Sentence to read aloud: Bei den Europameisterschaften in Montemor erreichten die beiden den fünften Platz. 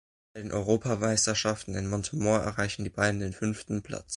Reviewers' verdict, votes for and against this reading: rejected, 0, 2